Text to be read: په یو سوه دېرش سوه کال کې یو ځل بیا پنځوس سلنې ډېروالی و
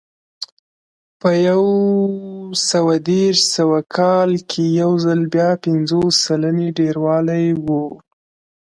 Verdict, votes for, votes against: accepted, 2, 0